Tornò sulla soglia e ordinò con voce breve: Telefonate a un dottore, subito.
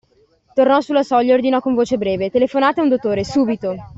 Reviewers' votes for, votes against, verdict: 2, 0, accepted